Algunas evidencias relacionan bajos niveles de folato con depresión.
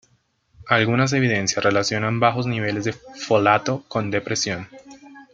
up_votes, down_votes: 1, 2